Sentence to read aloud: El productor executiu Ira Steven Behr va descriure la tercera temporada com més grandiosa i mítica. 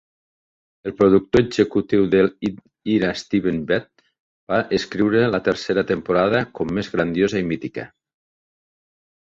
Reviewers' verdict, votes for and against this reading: rejected, 1, 2